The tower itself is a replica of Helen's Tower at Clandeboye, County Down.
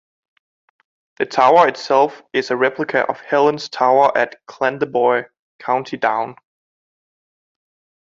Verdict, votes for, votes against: accepted, 2, 0